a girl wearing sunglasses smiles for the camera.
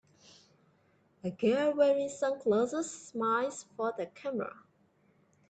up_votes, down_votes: 2, 0